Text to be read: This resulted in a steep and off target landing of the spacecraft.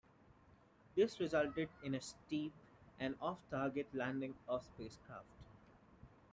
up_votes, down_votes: 2, 1